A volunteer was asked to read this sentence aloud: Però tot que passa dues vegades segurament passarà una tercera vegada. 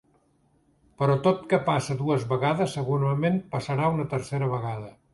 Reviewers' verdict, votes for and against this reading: accepted, 2, 1